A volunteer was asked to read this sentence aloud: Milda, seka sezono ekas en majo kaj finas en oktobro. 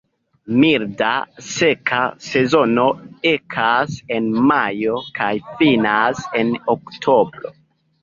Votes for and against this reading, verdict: 3, 1, accepted